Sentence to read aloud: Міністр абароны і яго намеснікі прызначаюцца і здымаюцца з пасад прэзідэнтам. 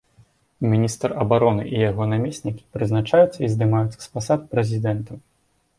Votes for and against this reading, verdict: 4, 0, accepted